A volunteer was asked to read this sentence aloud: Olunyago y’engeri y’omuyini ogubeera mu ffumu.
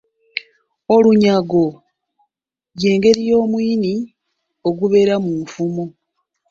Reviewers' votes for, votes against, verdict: 0, 2, rejected